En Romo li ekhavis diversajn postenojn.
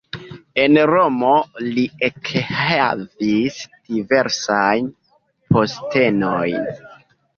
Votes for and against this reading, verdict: 0, 2, rejected